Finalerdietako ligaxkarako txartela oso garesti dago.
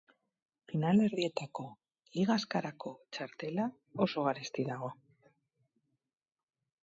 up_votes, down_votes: 0, 2